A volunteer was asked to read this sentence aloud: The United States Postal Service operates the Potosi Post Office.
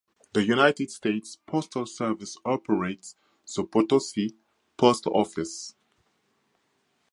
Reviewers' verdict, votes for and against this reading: accepted, 4, 0